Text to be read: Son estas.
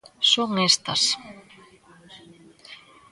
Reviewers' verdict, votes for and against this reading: accepted, 2, 1